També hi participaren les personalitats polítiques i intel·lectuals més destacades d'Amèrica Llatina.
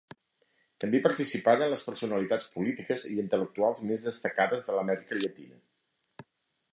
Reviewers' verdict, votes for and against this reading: rejected, 0, 2